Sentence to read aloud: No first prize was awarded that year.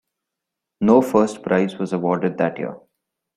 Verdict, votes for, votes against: accepted, 2, 0